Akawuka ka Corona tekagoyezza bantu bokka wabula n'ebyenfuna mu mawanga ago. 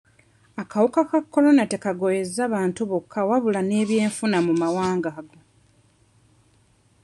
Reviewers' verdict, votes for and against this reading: rejected, 1, 2